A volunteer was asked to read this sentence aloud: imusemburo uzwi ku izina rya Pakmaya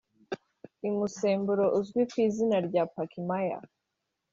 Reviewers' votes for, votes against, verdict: 2, 0, accepted